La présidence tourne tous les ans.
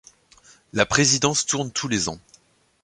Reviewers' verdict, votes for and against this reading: accepted, 2, 0